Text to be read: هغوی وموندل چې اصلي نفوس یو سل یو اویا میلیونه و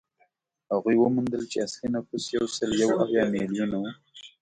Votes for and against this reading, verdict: 2, 0, accepted